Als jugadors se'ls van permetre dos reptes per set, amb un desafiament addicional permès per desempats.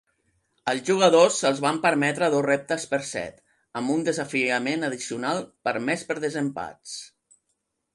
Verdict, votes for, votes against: accepted, 3, 0